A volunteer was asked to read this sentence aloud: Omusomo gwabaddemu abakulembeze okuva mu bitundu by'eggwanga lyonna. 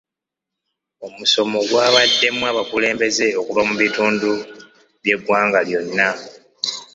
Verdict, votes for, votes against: accepted, 2, 0